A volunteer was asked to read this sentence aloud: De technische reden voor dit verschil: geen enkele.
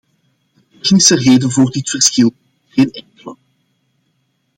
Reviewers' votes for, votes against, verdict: 0, 2, rejected